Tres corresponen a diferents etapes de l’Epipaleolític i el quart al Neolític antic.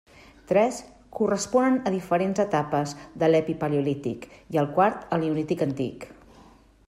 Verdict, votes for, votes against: accepted, 2, 0